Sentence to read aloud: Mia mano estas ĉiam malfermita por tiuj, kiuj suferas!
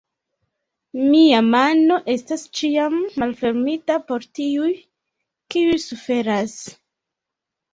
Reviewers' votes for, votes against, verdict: 1, 2, rejected